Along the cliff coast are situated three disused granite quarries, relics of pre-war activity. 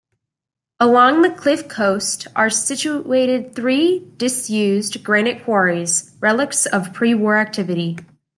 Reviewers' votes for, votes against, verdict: 2, 0, accepted